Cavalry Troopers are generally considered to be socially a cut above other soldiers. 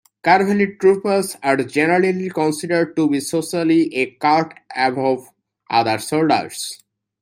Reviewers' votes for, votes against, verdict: 2, 0, accepted